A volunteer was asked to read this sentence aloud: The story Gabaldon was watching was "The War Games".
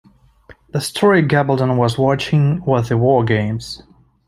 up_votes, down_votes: 2, 0